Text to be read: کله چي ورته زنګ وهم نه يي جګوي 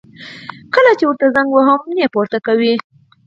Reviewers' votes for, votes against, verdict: 0, 4, rejected